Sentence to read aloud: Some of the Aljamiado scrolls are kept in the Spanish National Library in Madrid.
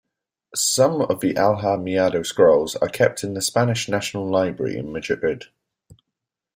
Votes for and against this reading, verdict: 0, 2, rejected